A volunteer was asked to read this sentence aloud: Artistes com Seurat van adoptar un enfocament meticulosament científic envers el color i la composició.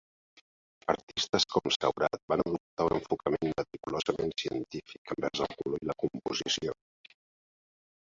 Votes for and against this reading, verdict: 2, 0, accepted